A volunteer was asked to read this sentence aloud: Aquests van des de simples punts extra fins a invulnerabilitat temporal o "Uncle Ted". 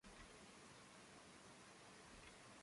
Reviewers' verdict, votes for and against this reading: rejected, 0, 2